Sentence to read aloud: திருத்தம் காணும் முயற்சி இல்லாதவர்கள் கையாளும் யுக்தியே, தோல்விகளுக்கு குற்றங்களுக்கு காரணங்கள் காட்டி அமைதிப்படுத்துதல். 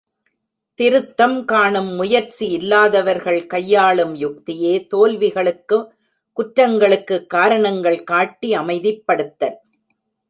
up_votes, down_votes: 1, 2